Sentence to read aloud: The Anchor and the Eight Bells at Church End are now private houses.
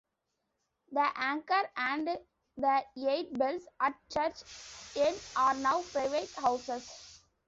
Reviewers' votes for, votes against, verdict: 1, 2, rejected